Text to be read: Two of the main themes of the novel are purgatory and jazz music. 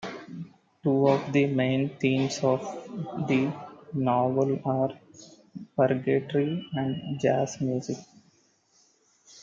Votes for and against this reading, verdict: 2, 0, accepted